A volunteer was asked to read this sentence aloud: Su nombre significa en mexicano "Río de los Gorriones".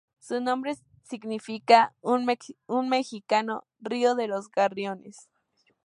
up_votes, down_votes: 0, 2